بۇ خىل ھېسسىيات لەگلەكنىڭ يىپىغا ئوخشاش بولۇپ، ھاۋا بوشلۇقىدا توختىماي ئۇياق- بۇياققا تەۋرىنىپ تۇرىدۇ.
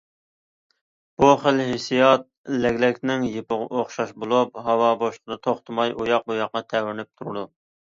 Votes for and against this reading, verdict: 2, 0, accepted